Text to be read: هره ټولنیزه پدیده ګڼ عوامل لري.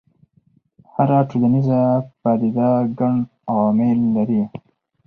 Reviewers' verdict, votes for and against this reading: accepted, 4, 0